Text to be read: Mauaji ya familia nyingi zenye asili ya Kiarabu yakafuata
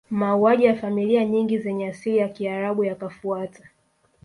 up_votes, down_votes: 1, 2